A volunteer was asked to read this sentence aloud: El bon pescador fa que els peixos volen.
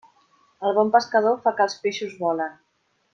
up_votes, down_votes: 3, 0